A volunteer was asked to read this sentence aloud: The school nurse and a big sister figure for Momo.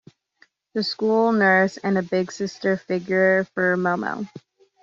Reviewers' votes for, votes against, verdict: 2, 0, accepted